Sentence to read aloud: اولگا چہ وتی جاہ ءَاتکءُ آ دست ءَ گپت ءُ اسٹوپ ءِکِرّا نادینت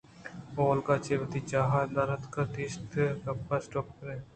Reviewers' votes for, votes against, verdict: 0, 2, rejected